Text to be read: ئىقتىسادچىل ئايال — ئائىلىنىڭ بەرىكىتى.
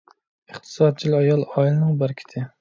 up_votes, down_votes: 2, 0